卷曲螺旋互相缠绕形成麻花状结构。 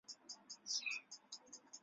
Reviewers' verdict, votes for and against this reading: rejected, 3, 4